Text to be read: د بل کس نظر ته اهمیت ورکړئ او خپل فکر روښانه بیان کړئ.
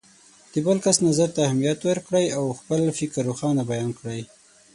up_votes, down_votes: 6, 0